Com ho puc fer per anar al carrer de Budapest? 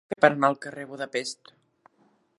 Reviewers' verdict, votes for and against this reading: rejected, 1, 2